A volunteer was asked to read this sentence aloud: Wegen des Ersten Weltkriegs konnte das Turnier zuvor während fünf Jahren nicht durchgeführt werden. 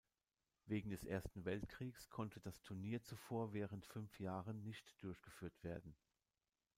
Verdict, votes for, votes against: accepted, 2, 0